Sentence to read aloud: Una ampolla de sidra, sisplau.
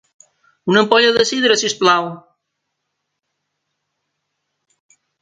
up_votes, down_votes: 2, 0